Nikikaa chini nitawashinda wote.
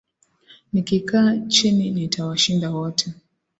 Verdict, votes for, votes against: accepted, 2, 0